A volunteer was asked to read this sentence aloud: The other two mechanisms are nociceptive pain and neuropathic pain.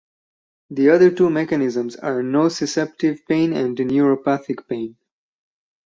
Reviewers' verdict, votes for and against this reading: accepted, 6, 2